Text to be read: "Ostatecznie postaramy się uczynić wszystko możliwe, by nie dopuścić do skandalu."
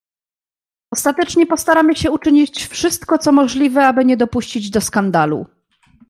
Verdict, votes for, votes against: accepted, 2, 0